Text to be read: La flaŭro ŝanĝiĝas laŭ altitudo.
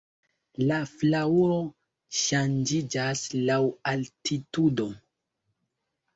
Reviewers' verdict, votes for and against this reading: rejected, 1, 2